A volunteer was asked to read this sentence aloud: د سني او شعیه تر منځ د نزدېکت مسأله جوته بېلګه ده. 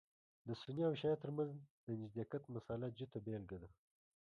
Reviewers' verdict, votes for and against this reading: rejected, 1, 3